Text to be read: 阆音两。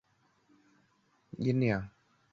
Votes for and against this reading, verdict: 0, 2, rejected